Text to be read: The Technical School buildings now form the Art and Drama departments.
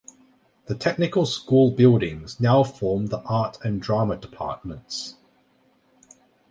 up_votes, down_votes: 2, 0